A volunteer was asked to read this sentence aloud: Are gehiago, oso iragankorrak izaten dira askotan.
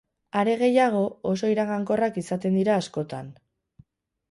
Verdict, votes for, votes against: accepted, 4, 0